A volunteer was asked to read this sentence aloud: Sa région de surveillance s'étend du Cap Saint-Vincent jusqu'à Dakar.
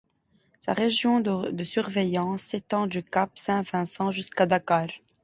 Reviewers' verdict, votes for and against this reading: rejected, 1, 2